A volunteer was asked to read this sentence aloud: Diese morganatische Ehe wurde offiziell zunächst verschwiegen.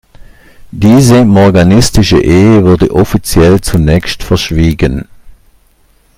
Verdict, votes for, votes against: rejected, 0, 2